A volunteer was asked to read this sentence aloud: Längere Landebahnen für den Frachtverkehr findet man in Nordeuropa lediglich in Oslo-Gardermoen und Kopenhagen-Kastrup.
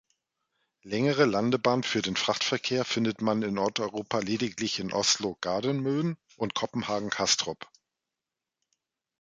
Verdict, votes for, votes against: rejected, 1, 2